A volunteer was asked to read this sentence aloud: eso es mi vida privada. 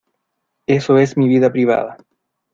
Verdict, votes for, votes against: accepted, 2, 0